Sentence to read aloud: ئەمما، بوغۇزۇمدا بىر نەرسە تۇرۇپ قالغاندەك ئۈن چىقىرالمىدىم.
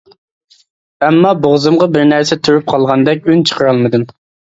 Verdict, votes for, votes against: rejected, 1, 2